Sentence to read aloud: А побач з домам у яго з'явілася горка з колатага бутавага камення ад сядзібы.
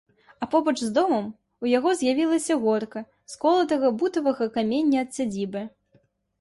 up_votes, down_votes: 2, 0